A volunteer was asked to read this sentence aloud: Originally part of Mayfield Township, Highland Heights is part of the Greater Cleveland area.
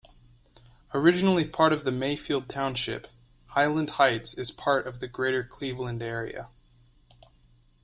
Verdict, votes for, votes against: rejected, 1, 2